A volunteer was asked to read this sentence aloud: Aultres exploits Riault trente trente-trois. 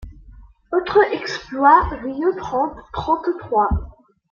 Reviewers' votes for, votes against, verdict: 1, 2, rejected